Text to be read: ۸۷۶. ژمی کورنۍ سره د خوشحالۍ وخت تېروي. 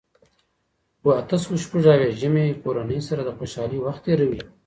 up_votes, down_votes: 0, 2